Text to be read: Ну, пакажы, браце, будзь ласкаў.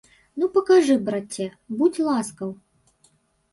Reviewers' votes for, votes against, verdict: 1, 2, rejected